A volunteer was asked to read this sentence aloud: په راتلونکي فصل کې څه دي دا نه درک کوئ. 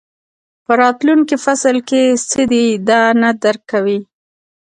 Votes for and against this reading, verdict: 2, 0, accepted